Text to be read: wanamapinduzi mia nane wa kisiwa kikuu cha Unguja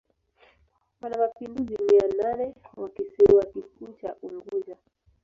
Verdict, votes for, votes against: rejected, 0, 2